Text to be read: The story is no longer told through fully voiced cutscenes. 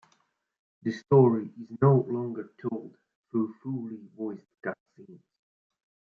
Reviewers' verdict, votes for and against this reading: accepted, 2, 0